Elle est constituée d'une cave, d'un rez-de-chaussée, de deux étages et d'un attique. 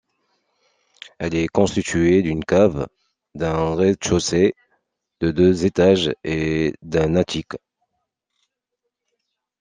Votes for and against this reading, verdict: 2, 1, accepted